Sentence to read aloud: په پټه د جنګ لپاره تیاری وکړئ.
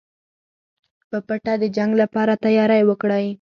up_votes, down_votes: 4, 0